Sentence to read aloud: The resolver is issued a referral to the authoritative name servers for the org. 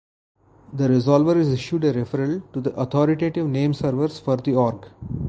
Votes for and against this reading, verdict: 0, 2, rejected